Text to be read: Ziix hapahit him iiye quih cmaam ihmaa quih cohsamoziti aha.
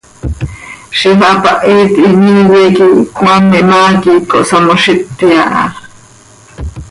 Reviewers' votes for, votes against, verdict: 2, 0, accepted